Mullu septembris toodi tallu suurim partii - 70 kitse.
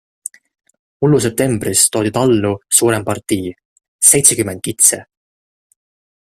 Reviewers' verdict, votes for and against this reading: rejected, 0, 2